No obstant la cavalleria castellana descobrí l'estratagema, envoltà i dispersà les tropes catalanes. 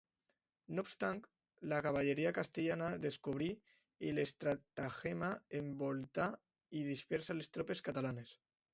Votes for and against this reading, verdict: 0, 2, rejected